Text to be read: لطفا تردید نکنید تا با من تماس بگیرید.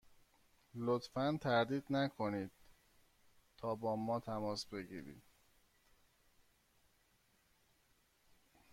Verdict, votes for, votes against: rejected, 1, 2